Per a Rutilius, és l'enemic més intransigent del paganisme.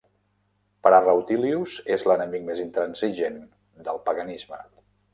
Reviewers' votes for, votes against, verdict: 2, 0, accepted